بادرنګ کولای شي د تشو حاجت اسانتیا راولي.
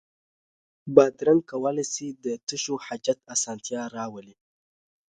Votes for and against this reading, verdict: 2, 0, accepted